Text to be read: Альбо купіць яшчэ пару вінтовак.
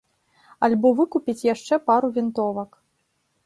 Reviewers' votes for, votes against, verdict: 0, 2, rejected